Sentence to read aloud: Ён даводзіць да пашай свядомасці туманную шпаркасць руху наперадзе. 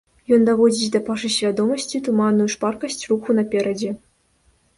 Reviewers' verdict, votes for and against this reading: rejected, 0, 2